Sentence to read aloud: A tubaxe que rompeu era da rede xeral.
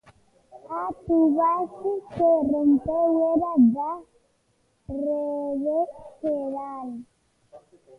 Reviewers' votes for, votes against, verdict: 0, 2, rejected